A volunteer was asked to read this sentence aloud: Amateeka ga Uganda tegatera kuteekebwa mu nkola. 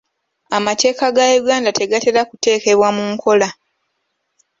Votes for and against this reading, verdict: 2, 0, accepted